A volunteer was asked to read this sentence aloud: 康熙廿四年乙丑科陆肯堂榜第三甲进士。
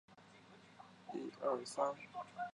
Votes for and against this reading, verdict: 0, 4, rejected